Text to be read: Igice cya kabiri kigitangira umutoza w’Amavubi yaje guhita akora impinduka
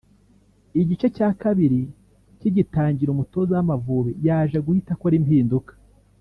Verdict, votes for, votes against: rejected, 1, 2